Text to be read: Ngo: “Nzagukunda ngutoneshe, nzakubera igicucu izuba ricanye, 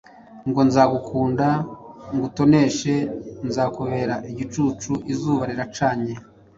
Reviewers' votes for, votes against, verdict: 0, 2, rejected